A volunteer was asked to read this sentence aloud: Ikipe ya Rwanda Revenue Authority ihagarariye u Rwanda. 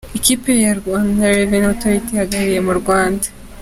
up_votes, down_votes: 2, 0